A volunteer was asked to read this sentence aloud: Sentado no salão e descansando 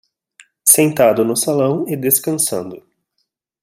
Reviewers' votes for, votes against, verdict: 2, 0, accepted